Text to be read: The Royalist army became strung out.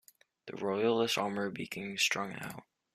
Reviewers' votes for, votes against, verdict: 2, 1, accepted